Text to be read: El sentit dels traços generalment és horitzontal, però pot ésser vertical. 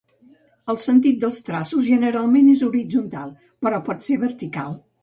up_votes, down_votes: 1, 2